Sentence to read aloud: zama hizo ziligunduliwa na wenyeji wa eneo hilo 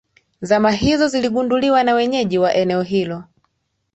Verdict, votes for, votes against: accepted, 2, 0